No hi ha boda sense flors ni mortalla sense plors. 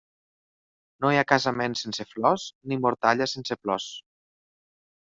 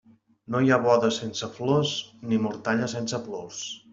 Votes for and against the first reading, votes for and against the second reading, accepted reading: 0, 2, 3, 0, second